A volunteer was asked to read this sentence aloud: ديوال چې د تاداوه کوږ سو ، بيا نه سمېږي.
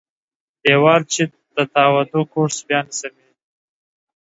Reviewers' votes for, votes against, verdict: 0, 2, rejected